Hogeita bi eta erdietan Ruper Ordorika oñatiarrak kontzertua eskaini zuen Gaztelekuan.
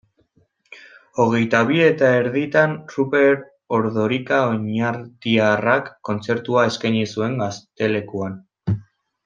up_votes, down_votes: 0, 2